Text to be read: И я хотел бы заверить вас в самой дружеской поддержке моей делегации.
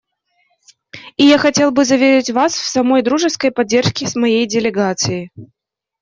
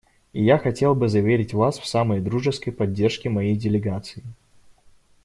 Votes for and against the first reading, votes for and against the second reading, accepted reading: 1, 2, 2, 0, second